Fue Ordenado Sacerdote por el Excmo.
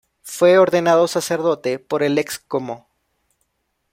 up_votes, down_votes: 1, 2